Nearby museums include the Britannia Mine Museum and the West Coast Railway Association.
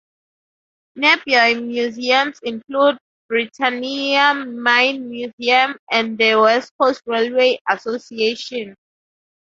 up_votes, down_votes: 0, 2